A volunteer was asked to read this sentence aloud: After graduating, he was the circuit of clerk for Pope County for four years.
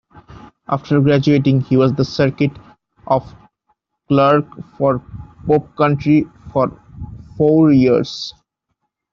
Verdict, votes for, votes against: rejected, 1, 2